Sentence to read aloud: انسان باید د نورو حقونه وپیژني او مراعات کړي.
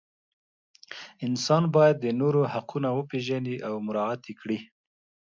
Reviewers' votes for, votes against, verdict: 2, 0, accepted